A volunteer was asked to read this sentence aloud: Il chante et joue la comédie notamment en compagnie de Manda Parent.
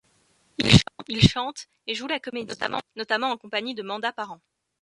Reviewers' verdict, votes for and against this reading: rejected, 0, 2